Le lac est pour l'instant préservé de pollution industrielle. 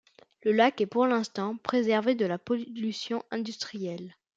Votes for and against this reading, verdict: 0, 2, rejected